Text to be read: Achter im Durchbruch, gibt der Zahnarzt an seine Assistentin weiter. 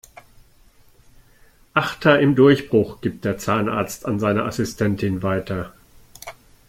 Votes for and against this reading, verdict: 2, 0, accepted